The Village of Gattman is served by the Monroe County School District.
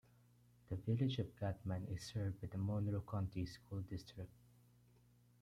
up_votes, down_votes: 1, 2